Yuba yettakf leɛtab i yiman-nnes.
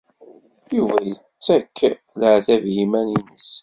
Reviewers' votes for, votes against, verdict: 1, 2, rejected